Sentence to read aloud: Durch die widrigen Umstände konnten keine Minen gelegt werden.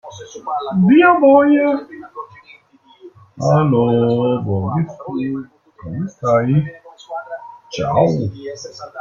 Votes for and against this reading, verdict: 0, 2, rejected